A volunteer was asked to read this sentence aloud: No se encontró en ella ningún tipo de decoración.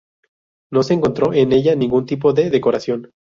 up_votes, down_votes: 2, 0